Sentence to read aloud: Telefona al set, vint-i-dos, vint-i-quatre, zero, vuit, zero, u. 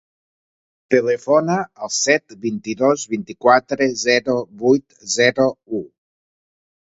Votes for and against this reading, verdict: 2, 0, accepted